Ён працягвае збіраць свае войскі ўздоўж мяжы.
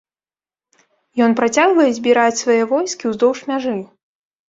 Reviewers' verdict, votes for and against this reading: accepted, 2, 0